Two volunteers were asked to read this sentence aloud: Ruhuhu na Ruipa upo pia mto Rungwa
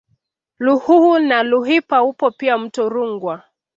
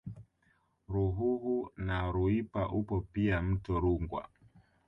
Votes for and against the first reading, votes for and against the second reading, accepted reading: 2, 0, 0, 2, first